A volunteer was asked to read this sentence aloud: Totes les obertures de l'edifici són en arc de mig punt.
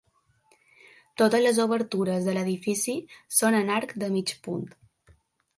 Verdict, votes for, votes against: accepted, 2, 0